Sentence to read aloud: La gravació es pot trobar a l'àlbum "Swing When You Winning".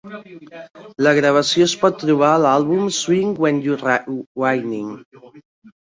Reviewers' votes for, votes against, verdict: 0, 2, rejected